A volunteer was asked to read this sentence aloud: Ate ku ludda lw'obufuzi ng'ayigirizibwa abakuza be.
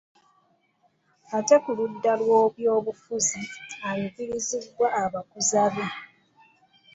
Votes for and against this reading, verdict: 0, 2, rejected